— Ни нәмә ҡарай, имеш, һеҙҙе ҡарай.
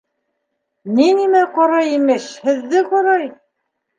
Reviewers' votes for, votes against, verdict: 2, 1, accepted